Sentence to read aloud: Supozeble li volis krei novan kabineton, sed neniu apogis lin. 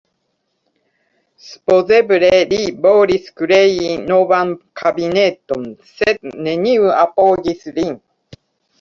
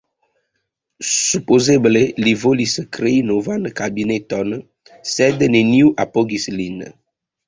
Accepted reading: second